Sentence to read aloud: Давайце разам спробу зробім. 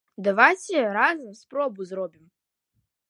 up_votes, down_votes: 2, 0